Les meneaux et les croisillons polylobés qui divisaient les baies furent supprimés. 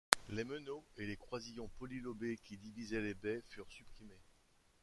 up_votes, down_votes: 0, 2